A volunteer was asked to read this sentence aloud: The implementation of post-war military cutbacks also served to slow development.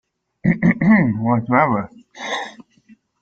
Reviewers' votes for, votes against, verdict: 0, 2, rejected